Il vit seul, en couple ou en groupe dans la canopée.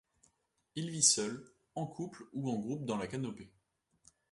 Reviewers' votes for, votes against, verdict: 0, 2, rejected